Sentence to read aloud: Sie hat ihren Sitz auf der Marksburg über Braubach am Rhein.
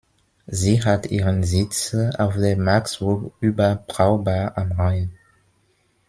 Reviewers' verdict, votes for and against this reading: rejected, 0, 3